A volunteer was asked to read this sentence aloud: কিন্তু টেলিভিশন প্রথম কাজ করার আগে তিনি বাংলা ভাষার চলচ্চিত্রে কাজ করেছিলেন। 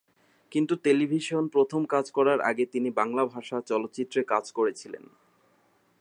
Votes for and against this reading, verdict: 2, 0, accepted